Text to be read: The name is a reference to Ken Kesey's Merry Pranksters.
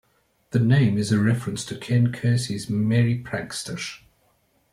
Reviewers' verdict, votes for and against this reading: accepted, 2, 0